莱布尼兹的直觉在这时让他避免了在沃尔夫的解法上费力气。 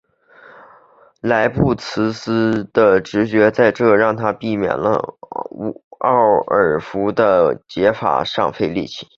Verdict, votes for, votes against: rejected, 0, 2